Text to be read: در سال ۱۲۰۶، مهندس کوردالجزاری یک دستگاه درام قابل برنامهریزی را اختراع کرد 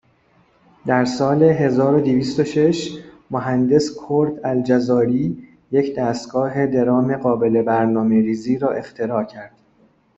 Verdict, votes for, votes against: rejected, 0, 2